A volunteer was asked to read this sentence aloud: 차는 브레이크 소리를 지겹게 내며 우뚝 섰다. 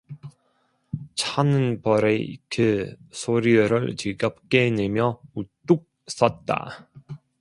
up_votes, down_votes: 0, 2